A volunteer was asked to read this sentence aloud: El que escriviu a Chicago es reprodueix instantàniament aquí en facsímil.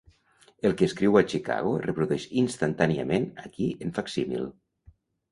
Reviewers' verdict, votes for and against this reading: rejected, 1, 2